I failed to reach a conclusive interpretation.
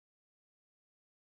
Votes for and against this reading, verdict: 0, 2, rejected